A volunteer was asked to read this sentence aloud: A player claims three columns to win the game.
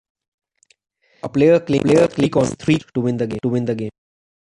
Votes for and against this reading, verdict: 0, 2, rejected